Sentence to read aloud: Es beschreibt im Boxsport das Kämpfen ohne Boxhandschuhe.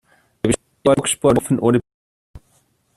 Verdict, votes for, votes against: rejected, 0, 2